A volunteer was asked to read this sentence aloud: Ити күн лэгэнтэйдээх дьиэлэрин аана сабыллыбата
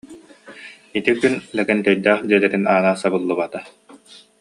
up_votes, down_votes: 2, 0